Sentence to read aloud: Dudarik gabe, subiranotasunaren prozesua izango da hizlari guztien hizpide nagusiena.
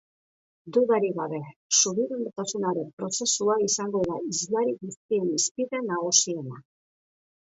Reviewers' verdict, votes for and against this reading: rejected, 1, 2